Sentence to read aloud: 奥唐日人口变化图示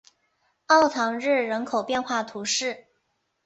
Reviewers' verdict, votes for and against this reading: accepted, 3, 0